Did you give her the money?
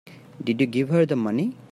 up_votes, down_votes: 2, 0